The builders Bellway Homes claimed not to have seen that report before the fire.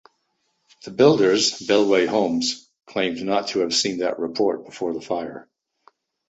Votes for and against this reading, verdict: 2, 0, accepted